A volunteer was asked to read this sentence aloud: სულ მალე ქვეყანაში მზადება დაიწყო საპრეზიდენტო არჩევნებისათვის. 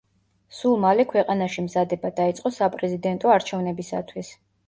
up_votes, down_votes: 2, 1